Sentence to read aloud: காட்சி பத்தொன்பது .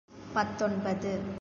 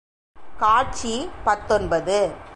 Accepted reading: second